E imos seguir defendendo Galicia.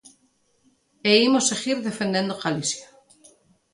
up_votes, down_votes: 2, 0